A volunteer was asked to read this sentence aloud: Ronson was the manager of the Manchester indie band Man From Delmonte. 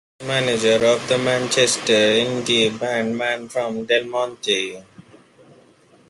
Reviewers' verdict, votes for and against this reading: rejected, 0, 2